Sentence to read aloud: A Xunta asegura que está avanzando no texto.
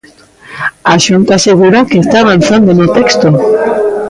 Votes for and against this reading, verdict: 2, 0, accepted